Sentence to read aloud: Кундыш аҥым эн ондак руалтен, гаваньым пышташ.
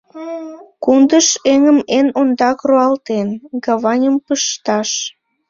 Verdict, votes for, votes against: rejected, 0, 2